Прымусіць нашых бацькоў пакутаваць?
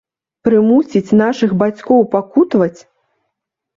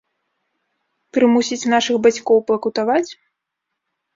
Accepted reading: first